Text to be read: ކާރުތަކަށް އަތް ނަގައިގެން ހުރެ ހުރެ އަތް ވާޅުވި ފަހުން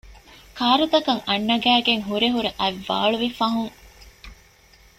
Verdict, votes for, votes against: accepted, 2, 1